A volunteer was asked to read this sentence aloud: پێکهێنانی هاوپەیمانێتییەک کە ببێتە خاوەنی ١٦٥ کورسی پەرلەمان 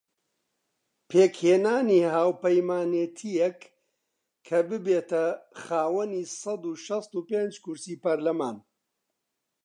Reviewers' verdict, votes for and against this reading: rejected, 0, 2